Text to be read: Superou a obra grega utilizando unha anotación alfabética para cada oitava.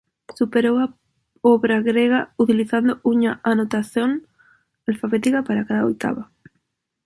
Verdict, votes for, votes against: rejected, 0, 2